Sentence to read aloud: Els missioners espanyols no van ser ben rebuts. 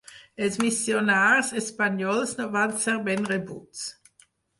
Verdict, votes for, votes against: rejected, 2, 4